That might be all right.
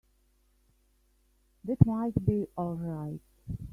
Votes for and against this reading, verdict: 1, 2, rejected